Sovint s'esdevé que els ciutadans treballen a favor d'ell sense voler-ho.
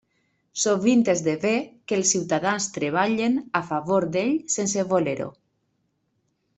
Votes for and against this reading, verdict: 1, 2, rejected